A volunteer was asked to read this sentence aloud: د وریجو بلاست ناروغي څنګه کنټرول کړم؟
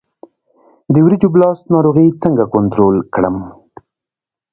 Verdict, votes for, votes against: rejected, 1, 2